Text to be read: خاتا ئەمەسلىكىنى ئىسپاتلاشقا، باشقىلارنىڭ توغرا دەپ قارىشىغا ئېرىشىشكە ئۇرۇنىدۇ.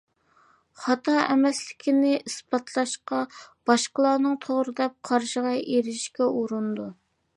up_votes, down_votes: 2, 0